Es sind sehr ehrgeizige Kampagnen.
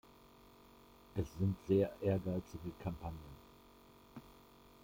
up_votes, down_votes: 2, 1